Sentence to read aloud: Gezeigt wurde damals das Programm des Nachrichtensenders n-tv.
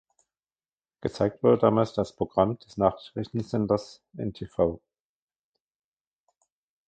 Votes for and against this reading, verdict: 0, 2, rejected